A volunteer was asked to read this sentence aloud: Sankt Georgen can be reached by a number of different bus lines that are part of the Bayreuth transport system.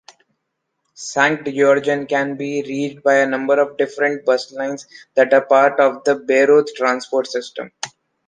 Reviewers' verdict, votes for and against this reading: accepted, 2, 0